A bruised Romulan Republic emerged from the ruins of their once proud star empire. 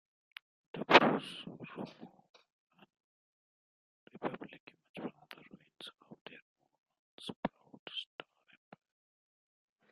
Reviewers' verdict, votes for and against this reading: rejected, 0, 2